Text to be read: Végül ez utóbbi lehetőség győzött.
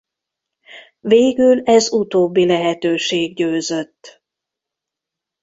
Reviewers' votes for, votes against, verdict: 2, 0, accepted